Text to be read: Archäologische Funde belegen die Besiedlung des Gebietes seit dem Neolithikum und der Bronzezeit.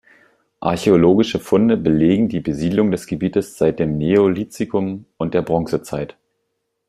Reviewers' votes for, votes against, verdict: 1, 2, rejected